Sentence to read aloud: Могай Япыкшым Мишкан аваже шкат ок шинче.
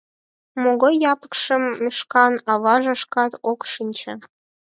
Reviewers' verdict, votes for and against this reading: rejected, 2, 4